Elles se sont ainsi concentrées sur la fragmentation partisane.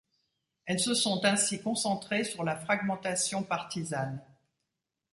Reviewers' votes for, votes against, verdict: 2, 0, accepted